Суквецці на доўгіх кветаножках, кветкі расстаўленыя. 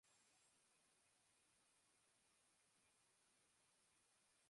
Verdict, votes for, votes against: rejected, 0, 3